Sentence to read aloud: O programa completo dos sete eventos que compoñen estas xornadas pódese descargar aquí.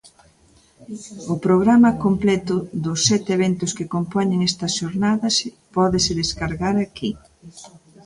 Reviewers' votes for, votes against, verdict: 2, 0, accepted